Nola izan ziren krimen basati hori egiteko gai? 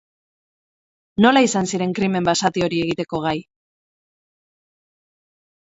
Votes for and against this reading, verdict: 4, 0, accepted